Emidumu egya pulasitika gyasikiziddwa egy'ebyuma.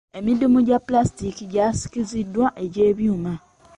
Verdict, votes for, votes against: accepted, 2, 1